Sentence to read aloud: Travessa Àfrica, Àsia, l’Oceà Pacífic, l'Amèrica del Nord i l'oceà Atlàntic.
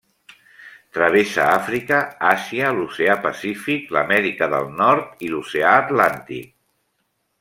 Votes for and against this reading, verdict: 1, 2, rejected